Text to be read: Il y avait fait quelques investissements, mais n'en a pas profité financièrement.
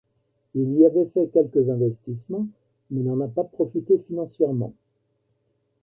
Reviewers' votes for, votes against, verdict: 1, 2, rejected